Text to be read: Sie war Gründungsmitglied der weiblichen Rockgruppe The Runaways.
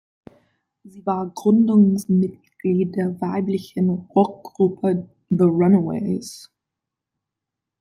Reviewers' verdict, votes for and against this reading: accepted, 2, 0